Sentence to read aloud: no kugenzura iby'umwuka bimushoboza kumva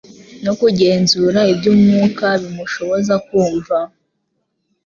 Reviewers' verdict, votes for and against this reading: accepted, 2, 0